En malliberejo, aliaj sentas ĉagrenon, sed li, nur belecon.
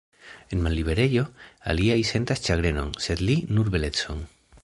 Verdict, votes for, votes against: rejected, 1, 2